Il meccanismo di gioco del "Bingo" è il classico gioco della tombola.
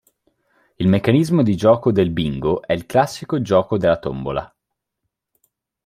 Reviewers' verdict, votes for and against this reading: accepted, 4, 0